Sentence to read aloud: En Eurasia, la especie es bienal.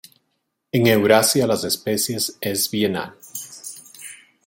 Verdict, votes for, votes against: rejected, 0, 2